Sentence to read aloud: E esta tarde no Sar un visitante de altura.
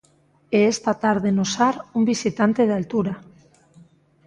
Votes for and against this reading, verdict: 2, 0, accepted